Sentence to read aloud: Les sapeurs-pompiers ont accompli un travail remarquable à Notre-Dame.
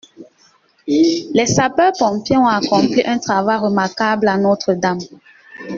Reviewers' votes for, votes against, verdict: 2, 0, accepted